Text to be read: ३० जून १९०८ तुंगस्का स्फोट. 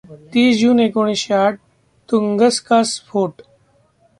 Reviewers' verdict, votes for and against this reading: rejected, 0, 2